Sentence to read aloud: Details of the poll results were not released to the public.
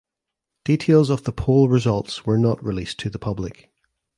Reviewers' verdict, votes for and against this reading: accepted, 2, 0